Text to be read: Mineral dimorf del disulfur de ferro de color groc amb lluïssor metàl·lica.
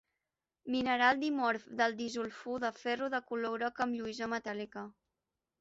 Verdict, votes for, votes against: rejected, 1, 2